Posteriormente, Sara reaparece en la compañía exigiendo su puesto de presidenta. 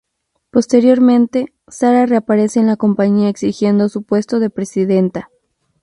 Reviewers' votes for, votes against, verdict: 4, 0, accepted